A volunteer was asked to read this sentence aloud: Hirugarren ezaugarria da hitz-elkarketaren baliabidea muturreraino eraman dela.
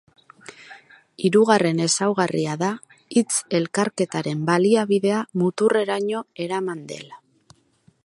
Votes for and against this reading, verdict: 4, 0, accepted